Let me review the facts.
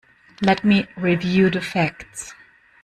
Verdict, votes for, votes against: accepted, 2, 1